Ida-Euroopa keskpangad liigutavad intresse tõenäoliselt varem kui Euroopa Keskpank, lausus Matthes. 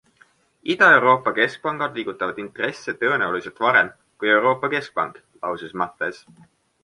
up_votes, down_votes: 2, 1